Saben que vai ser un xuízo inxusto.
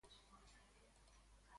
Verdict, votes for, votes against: rejected, 0, 2